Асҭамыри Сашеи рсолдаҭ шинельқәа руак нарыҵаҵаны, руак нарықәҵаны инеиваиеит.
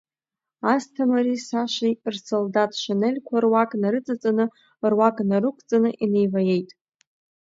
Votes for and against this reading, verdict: 1, 2, rejected